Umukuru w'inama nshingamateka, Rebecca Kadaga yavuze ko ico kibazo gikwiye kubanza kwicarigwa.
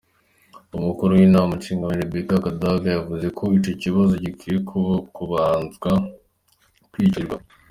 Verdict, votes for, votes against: accepted, 2, 1